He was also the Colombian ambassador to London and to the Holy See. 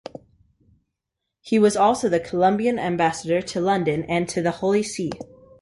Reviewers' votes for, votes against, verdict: 4, 0, accepted